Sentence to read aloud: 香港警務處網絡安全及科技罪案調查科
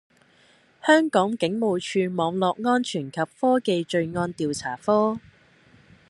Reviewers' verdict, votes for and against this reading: accepted, 2, 0